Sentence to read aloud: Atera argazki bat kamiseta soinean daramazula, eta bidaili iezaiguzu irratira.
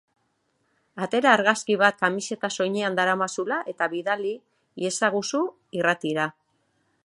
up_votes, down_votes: 3, 3